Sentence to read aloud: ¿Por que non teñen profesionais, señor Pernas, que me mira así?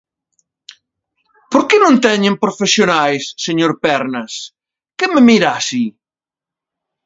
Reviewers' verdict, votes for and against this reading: accepted, 2, 0